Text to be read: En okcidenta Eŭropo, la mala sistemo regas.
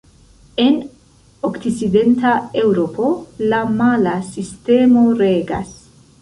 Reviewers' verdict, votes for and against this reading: rejected, 1, 2